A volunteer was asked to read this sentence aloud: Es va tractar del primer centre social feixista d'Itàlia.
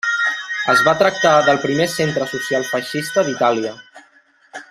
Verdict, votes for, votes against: rejected, 0, 2